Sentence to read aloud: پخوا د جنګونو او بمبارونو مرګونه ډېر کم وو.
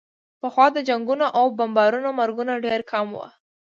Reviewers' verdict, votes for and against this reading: accepted, 3, 0